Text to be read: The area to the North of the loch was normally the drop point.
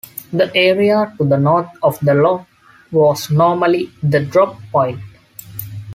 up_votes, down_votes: 2, 0